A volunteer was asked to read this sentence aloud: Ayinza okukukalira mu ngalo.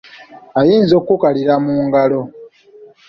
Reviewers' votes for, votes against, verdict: 1, 2, rejected